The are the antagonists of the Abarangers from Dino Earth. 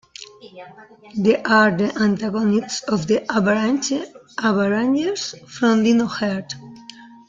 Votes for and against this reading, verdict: 1, 2, rejected